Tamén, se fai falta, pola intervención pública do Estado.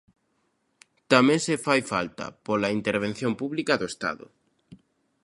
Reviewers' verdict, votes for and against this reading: accepted, 2, 0